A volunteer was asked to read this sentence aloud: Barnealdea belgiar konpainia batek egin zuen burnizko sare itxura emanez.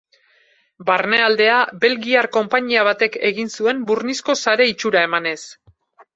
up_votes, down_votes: 2, 0